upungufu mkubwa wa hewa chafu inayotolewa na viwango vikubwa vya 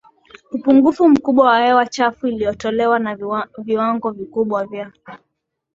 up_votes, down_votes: 4, 1